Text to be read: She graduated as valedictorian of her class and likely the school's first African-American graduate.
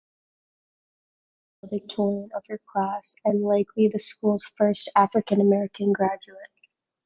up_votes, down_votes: 0, 2